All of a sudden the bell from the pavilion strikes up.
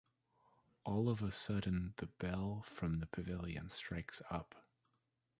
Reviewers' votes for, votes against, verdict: 1, 2, rejected